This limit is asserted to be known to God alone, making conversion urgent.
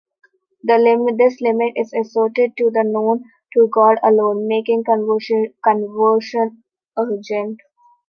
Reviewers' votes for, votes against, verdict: 0, 2, rejected